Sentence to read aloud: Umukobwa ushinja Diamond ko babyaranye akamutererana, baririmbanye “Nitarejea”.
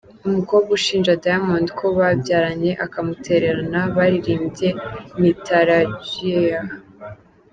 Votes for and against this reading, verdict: 1, 2, rejected